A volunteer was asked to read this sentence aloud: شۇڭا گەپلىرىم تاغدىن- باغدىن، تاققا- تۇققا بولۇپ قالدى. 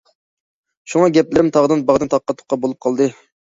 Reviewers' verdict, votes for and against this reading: accepted, 2, 0